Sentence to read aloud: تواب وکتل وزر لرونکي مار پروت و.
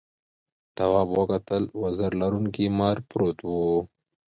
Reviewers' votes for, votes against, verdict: 2, 0, accepted